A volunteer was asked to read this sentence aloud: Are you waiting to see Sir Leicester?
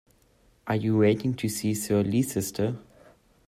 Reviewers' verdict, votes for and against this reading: rejected, 0, 2